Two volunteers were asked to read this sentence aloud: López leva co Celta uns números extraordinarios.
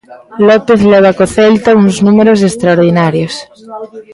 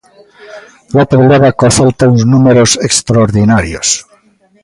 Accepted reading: second